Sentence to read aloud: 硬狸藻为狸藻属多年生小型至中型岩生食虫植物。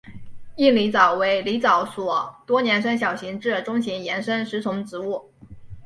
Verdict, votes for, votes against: accepted, 2, 0